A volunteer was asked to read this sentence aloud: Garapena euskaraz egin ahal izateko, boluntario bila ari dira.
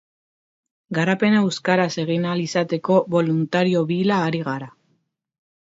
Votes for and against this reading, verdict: 1, 2, rejected